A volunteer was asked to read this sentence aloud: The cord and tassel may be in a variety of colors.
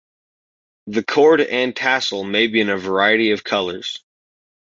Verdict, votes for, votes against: accepted, 2, 0